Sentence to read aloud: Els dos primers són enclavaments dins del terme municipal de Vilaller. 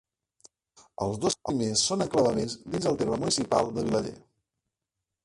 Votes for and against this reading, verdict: 0, 3, rejected